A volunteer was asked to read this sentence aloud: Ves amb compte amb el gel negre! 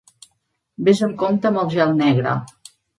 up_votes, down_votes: 3, 0